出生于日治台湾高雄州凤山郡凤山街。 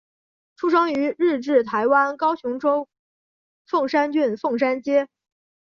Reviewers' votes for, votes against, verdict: 1, 2, rejected